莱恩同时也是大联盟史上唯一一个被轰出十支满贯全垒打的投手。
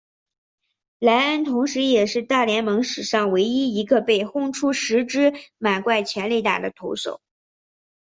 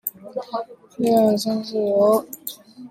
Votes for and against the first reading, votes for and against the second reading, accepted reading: 2, 0, 0, 2, first